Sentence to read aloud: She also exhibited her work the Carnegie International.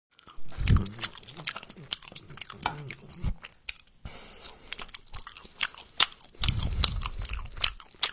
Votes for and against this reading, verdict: 0, 2, rejected